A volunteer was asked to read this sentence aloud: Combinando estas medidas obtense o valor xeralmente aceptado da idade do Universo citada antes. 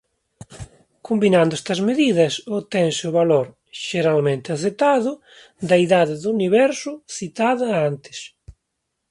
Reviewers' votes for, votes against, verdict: 2, 0, accepted